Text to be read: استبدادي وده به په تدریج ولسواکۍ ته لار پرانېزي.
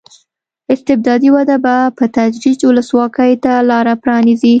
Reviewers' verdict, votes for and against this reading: accepted, 2, 0